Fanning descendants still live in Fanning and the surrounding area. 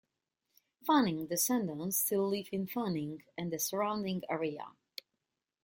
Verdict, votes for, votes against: rejected, 1, 2